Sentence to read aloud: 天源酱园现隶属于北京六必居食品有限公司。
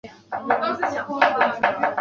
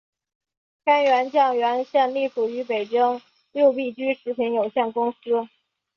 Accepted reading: second